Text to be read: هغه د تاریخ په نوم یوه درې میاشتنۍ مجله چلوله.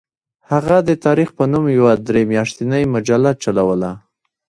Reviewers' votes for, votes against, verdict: 0, 2, rejected